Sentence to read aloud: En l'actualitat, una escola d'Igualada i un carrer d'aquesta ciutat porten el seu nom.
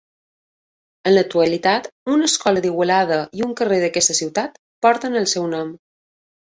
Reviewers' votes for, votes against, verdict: 2, 0, accepted